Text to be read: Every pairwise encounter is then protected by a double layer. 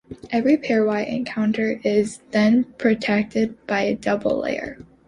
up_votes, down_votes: 2, 0